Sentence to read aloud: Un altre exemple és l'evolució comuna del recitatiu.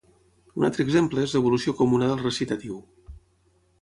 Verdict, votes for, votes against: accepted, 6, 0